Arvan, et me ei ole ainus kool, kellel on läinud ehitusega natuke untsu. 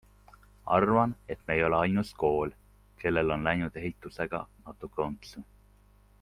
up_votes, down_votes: 2, 0